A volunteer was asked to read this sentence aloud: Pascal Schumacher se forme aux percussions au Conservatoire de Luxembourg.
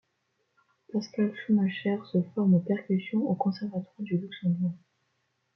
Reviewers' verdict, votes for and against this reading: rejected, 0, 2